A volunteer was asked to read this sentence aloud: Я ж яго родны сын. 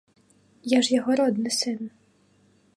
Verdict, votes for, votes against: accepted, 3, 0